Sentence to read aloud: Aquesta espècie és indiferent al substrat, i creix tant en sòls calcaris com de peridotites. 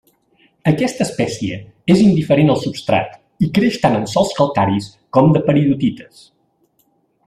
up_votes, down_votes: 2, 0